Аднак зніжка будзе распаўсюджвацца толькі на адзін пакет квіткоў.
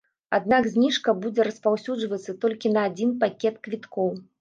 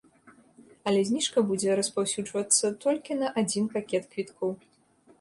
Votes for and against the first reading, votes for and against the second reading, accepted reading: 2, 0, 1, 3, first